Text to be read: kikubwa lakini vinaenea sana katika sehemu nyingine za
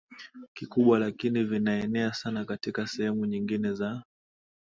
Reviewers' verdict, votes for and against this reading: accepted, 6, 4